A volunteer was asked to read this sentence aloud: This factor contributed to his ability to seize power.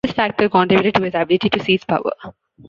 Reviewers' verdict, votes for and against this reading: rejected, 1, 2